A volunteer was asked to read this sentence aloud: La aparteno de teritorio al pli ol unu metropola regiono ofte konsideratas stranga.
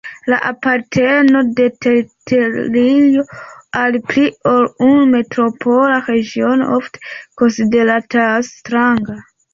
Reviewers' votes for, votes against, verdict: 2, 3, rejected